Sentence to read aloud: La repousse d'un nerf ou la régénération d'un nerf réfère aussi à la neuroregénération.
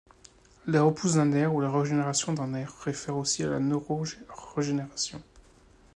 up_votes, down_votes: 1, 2